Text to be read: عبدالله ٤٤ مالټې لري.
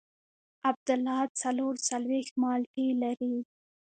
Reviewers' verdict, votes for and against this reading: rejected, 0, 2